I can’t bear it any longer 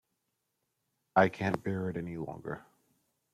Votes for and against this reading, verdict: 2, 0, accepted